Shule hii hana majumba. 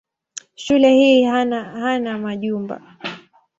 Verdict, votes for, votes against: rejected, 1, 2